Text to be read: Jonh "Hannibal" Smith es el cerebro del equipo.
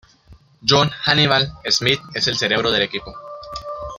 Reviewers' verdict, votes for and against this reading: accepted, 2, 0